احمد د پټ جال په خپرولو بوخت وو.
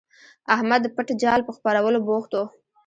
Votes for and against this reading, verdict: 0, 2, rejected